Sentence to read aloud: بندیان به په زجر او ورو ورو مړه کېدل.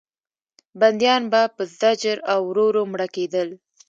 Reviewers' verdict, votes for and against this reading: accepted, 2, 0